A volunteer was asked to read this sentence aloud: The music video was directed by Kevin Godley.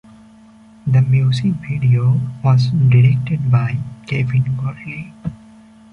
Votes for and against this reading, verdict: 1, 2, rejected